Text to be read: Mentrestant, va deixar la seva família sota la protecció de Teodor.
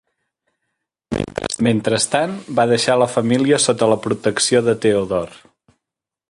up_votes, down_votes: 0, 2